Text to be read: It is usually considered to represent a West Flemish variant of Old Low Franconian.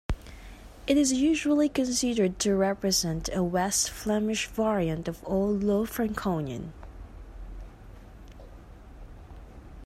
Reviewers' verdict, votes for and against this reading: accepted, 2, 0